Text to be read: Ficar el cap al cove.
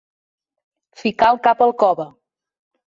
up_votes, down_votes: 2, 0